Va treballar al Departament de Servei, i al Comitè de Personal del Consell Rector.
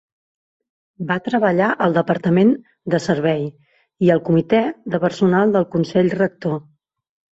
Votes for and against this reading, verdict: 3, 0, accepted